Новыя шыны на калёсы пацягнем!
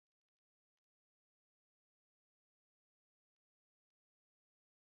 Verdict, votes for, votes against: rejected, 0, 2